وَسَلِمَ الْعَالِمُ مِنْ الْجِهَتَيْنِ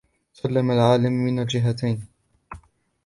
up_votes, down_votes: 0, 2